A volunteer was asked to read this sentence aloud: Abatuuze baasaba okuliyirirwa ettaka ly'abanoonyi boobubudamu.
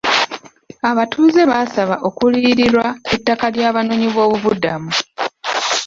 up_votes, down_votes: 2, 0